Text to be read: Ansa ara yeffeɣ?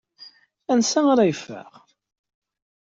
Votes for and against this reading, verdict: 2, 0, accepted